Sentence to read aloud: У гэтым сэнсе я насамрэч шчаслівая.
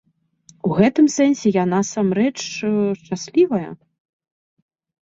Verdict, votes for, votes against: rejected, 1, 2